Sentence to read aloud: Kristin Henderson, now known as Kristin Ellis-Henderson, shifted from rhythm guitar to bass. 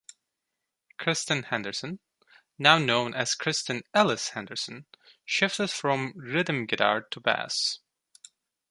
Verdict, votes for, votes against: rejected, 1, 2